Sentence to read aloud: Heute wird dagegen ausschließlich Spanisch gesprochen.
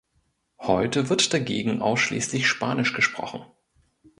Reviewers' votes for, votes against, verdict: 2, 0, accepted